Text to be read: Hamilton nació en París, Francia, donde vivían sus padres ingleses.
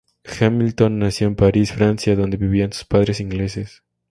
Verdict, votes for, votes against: accepted, 2, 0